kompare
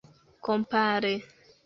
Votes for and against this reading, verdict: 2, 0, accepted